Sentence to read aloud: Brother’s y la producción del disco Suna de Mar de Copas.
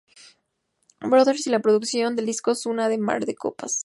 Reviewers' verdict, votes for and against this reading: accepted, 4, 0